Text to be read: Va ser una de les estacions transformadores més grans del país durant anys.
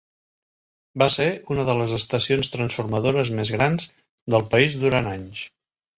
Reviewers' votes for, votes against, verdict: 3, 0, accepted